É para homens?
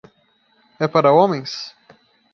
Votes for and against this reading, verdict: 2, 0, accepted